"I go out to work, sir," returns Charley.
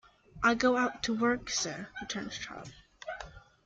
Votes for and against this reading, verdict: 2, 1, accepted